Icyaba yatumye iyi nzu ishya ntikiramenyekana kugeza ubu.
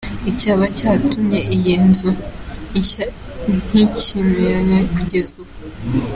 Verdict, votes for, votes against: rejected, 0, 2